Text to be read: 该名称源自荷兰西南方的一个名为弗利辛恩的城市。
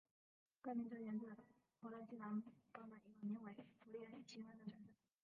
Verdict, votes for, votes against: rejected, 0, 2